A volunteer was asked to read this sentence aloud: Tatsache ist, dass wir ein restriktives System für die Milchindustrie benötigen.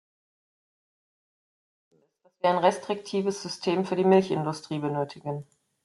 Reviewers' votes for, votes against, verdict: 0, 2, rejected